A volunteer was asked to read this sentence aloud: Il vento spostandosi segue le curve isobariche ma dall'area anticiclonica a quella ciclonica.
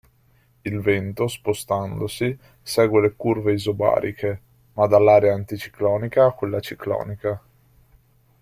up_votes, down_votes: 2, 0